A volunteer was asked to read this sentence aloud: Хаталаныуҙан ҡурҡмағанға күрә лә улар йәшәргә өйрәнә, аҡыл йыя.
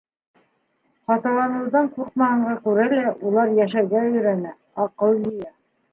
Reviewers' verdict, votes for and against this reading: rejected, 0, 2